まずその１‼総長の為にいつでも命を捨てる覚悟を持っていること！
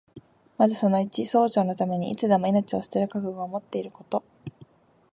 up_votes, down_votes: 0, 2